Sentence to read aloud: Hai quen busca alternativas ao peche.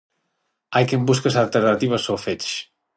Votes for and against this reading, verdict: 0, 6, rejected